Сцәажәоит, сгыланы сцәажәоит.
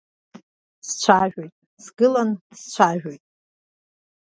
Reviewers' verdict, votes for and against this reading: accepted, 2, 0